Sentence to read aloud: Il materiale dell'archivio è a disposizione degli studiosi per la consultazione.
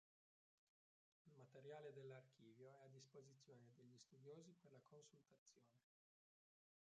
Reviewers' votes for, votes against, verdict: 0, 3, rejected